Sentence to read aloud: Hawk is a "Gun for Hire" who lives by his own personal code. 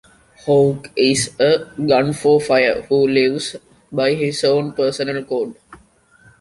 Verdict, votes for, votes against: rejected, 1, 2